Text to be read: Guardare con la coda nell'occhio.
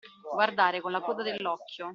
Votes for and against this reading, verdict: 1, 2, rejected